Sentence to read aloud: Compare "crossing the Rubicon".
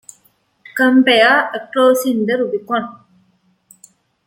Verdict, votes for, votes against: accepted, 2, 1